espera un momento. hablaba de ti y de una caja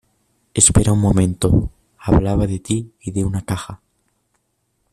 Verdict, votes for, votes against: accepted, 2, 0